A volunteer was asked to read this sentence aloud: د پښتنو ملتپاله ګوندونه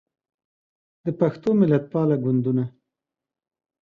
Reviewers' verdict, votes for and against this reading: rejected, 1, 2